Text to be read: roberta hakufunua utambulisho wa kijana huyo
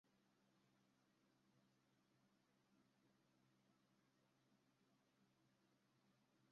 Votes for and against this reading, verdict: 0, 2, rejected